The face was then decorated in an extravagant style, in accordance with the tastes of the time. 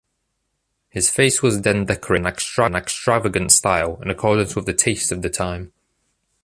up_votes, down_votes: 0, 2